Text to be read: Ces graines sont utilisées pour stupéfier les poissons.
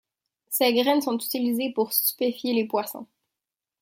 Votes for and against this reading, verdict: 0, 2, rejected